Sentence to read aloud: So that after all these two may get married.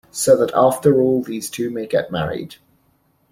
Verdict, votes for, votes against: accepted, 2, 0